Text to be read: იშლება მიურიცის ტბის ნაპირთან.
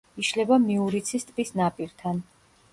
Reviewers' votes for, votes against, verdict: 1, 2, rejected